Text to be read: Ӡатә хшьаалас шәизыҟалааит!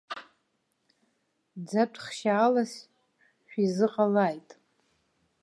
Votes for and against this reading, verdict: 2, 0, accepted